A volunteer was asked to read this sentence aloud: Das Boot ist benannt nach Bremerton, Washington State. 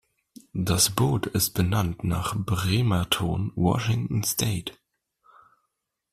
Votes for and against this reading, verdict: 2, 0, accepted